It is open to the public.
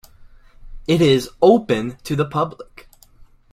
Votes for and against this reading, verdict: 2, 0, accepted